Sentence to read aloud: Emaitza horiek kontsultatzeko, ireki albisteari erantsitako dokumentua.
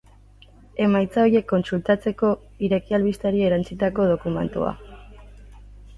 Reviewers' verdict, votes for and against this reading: rejected, 0, 2